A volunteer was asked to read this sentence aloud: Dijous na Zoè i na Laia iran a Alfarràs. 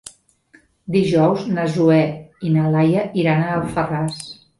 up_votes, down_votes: 3, 0